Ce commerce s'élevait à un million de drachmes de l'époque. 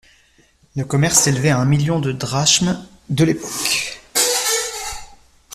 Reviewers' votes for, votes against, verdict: 0, 2, rejected